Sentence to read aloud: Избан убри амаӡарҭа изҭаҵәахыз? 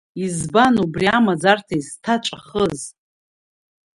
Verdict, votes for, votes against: rejected, 0, 2